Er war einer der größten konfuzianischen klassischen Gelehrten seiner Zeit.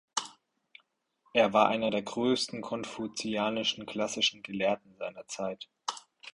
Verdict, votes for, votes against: accepted, 4, 0